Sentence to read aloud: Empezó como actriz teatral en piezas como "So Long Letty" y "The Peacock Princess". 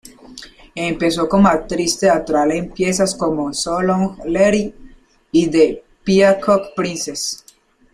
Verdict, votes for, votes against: rejected, 0, 2